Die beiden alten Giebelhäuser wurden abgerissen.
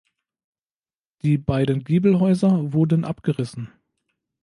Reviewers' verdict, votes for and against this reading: rejected, 1, 2